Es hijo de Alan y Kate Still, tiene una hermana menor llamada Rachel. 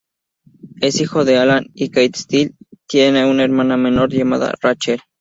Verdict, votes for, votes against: rejected, 0, 2